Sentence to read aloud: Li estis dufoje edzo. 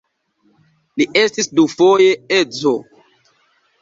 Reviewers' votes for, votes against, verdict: 2, 0, accepted